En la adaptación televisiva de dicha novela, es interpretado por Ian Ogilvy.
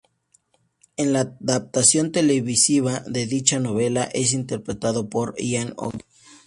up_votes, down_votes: 0, 2